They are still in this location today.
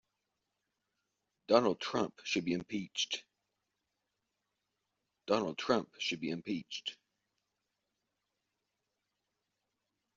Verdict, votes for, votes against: rejected, 0, 2